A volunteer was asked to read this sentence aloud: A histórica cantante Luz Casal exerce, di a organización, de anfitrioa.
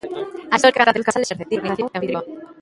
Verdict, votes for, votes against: rejected, 0, 2